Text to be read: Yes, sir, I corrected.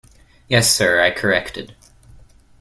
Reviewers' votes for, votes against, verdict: 2, 0, accepted